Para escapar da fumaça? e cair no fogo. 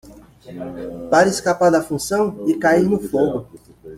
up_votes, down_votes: 0, 2